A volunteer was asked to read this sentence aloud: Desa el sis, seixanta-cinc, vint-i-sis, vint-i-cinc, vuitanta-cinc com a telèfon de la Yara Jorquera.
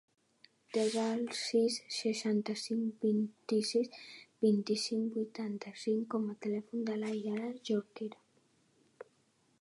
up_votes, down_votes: 5, 0